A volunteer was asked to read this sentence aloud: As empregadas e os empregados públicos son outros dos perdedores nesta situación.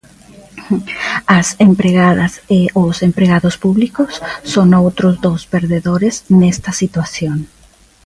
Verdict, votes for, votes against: accepted, 3, 0